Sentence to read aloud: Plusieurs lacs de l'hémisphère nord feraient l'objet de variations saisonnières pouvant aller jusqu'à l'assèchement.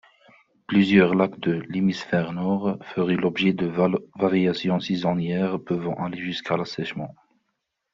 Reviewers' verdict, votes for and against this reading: rejected, 0, 2